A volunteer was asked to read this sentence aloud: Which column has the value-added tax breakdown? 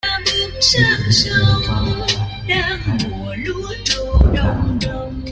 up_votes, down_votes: 0, 2